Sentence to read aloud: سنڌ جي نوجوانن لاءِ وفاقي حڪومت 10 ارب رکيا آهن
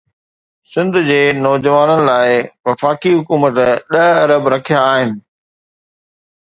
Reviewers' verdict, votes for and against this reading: rejected, 0, 2